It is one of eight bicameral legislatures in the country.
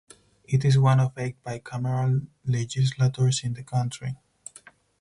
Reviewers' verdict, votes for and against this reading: rejected, 0, 4